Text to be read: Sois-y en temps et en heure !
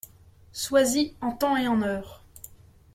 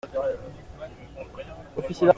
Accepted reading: first